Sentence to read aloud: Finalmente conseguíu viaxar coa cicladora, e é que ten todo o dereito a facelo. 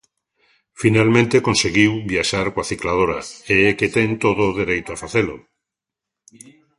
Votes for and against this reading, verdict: 2, 0, accepted